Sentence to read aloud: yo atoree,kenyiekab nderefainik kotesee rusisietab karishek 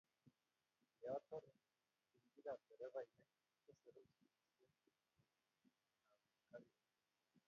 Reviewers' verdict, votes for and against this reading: rejected, 0, 2